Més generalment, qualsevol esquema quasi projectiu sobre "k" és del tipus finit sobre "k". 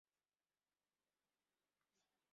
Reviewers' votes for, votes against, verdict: 1, 2, rejected